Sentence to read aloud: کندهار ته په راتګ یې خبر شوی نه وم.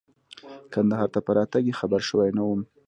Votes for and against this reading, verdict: 2, 1, accepted